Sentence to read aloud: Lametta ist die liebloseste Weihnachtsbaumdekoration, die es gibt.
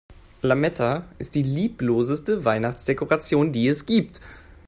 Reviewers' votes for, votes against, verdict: 1, 2, rejected